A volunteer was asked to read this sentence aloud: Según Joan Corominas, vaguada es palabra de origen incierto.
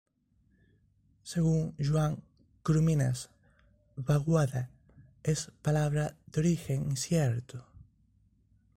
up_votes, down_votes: 0, 2